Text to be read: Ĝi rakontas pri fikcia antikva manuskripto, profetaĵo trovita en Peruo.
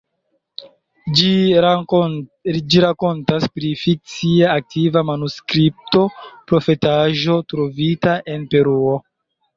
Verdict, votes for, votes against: rejected, 0, 2